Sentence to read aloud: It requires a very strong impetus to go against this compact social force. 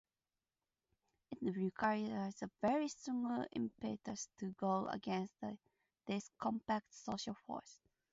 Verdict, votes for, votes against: rejected, 0, 2